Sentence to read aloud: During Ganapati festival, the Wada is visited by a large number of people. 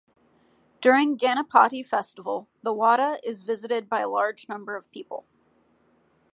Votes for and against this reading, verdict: 2, 0, accepted